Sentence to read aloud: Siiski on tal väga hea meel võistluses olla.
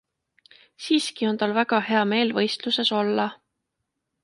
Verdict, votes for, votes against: accepted, 2, 0